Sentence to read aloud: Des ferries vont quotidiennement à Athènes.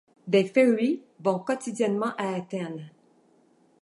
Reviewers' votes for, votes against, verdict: 2, 1, accepted